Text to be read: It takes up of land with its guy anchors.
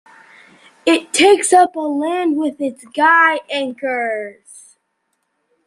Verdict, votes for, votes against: rejected, 0, 2